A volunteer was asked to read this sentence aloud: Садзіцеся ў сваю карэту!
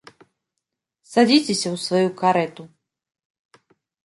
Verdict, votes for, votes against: accepted, 2, 1